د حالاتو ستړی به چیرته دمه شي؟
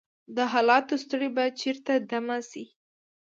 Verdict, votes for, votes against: accepted, 2, 0